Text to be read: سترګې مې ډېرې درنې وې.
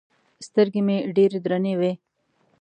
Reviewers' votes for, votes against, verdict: 2, 0, accepted